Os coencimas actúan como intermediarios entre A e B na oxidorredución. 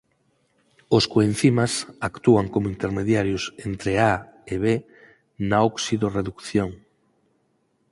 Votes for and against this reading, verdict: 4, 0, accepted